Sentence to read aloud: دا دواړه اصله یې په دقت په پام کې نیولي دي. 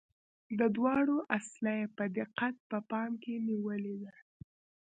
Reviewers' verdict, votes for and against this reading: accepted, 2, 1